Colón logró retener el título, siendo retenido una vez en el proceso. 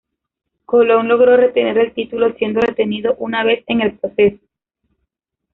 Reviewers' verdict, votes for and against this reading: rejected, 1, 2